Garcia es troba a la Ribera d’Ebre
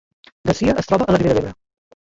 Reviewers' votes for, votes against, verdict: 0, 2, rejected